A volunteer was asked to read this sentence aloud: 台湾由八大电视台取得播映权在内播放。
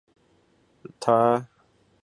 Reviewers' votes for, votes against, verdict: 0, 2, rejected